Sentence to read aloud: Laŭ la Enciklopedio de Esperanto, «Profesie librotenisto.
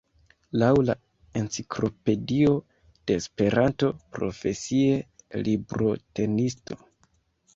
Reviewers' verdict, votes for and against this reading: rejected, 1, 2